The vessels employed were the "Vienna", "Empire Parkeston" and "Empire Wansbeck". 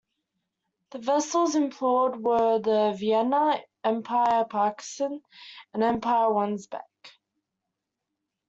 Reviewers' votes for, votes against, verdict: 0, 2, rejected